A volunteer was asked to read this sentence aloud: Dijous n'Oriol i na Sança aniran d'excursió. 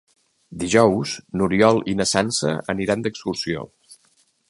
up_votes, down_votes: 3, 0